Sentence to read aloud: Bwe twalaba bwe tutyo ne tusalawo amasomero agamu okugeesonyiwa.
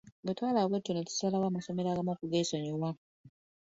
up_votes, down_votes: 3, 0